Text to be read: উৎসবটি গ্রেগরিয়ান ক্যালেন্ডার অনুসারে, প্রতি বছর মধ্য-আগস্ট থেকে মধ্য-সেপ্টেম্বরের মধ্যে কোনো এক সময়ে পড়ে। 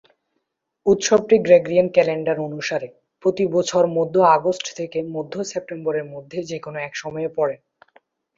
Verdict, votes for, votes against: rejected, 2, 2